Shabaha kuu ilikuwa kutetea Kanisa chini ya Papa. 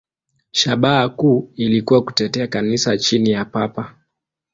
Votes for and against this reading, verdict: 2, 0, accepted